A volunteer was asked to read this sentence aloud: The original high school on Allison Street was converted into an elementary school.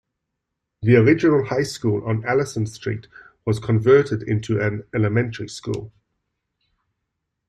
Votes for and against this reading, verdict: 2, 0, accepted